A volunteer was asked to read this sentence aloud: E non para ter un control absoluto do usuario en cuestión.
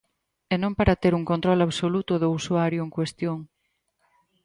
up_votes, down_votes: 4, 2